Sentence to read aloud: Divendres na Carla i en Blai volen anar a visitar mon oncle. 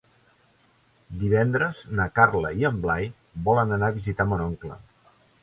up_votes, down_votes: 3, 0